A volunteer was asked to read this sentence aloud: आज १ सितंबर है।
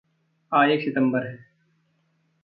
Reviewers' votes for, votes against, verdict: 0, 2, rejected